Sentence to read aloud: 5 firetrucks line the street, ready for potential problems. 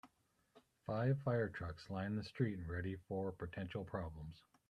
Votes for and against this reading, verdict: 0, 2, rejected